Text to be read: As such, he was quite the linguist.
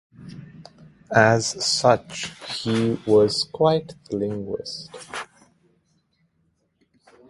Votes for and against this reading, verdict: 0, 2, rejected